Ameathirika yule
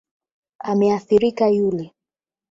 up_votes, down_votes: 0, 8